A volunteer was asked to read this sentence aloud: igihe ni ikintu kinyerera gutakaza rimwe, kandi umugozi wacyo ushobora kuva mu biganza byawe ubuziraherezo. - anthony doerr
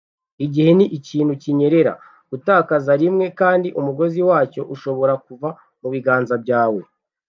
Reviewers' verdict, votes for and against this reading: rejected, 1, 2